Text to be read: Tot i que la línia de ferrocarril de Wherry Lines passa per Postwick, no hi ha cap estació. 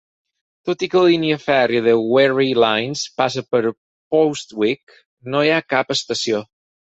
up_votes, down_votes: 0, 4